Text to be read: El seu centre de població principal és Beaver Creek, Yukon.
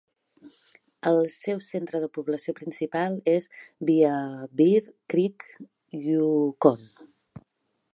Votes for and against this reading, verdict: 2, 3, rejected